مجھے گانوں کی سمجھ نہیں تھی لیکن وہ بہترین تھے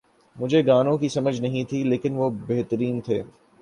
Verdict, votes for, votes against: accepted, 2, 0